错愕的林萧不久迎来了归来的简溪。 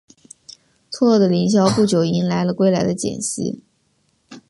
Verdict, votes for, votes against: rejected, 0, 2